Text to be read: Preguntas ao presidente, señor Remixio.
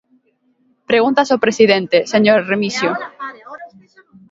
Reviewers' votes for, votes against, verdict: 1, 2, rejected